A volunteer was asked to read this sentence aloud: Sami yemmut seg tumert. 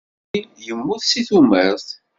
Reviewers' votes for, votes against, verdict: 0, 2, rejected